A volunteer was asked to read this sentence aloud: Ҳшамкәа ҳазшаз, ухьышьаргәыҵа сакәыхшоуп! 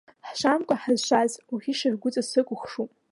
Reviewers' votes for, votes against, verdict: 0, 2, rejected